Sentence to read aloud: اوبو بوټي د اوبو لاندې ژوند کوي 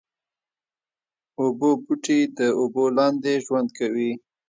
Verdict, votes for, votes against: accepted, 2, 1